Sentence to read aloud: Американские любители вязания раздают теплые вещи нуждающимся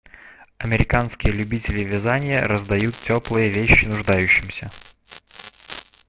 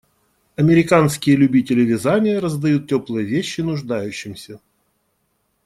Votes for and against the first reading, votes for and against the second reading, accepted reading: 1, 2, 2, 0, second